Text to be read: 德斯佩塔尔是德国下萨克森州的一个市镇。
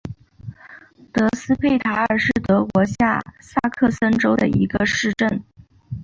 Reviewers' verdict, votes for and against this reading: accepted, 3, 0